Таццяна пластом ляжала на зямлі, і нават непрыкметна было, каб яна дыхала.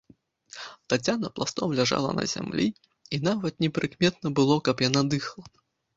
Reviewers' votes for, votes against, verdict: 0, 2, rejected